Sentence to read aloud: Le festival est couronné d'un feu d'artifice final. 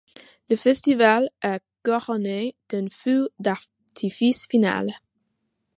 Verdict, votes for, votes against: accepted, 2, 1